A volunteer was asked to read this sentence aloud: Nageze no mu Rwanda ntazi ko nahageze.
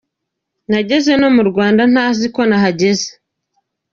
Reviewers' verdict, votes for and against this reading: accepted, 2, 0